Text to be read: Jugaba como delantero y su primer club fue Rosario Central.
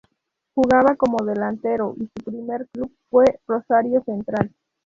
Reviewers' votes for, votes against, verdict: 2, 0, accepted